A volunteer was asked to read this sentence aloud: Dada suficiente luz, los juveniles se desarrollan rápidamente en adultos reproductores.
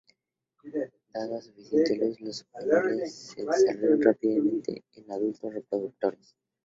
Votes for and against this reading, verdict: 0, 2, rejected